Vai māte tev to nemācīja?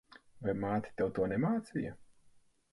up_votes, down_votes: 4, 0